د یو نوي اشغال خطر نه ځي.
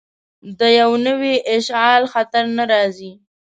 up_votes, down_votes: 1, 2